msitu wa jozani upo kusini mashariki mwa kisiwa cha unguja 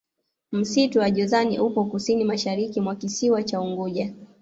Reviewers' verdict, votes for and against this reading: rejected, 1, 2